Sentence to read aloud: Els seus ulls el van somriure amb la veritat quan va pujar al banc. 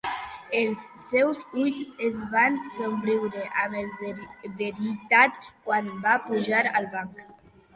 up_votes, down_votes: 1, 2